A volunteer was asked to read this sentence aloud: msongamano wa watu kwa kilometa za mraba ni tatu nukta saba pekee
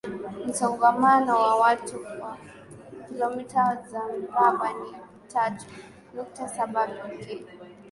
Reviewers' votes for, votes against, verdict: 1, 2, rejected